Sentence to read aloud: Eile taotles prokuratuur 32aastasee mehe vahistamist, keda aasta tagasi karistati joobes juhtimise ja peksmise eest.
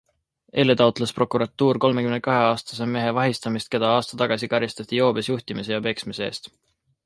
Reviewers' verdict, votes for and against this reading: rejected, 0, 2